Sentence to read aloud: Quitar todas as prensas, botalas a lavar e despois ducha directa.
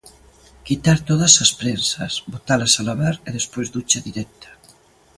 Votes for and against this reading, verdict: 2, 0, accepted